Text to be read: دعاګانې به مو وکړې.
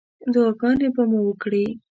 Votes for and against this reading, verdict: 2, 1, accepted